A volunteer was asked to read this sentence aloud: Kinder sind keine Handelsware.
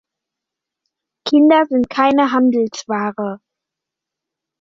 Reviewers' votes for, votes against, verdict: 2, 0, accepted